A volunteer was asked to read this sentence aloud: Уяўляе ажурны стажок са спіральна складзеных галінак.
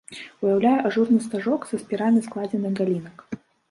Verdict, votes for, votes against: rejected, 0, 2